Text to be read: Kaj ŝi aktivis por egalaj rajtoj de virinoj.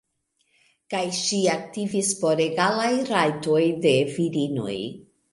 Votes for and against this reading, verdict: 2, 0, accepted